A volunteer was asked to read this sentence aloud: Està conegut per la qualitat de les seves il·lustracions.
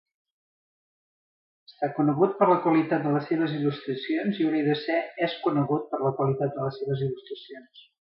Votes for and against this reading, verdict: 0, 2, rejected